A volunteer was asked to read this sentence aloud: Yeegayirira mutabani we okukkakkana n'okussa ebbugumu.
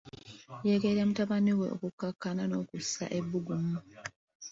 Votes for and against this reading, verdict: 1, 2, rejected